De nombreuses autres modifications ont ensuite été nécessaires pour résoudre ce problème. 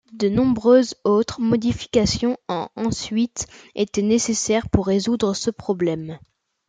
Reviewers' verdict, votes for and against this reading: accepted, 2, 0